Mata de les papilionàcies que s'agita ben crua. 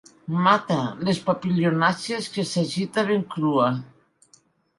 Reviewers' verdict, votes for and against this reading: rejected, 0, 2